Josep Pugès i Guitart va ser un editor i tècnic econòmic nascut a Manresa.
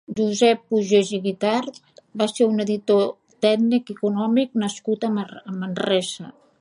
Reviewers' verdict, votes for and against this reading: rejected, 0, 2